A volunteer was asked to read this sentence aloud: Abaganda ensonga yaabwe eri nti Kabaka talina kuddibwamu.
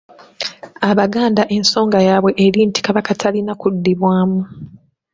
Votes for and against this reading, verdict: 2, 0, accepted